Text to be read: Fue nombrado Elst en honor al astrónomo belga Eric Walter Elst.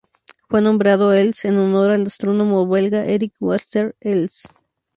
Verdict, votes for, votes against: accepted, 2, 0